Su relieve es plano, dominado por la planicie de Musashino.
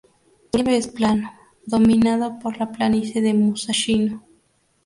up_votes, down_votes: 0, 2